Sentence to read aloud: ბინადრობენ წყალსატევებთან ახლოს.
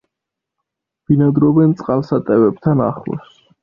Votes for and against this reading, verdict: 2, 0, accepted